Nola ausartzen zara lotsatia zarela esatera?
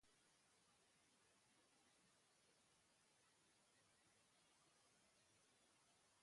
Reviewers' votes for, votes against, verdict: 0, 2, rejected